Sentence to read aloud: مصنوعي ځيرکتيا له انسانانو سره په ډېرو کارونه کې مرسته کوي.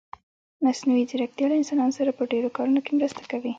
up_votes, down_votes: 2, 0